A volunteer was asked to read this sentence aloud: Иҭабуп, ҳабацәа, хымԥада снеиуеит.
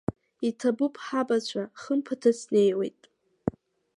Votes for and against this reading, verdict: 2, 1, accepted